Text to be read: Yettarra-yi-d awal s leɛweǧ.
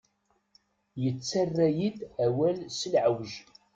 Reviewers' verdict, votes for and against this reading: accepted, 2, 0